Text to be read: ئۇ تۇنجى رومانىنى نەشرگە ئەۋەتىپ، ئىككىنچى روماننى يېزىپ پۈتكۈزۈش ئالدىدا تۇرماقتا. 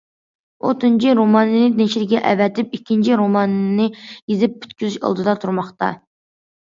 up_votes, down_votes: 2, 0